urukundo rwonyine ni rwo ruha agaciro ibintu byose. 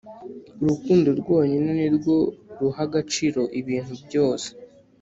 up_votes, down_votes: 3, 0